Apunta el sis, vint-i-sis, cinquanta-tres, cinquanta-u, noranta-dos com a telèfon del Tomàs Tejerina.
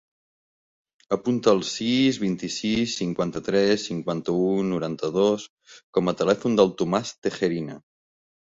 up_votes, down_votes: 2, 0